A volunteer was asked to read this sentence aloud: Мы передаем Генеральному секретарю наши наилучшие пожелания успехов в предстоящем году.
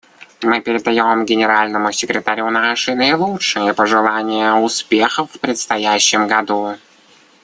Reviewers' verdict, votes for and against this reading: accepted, 2, 0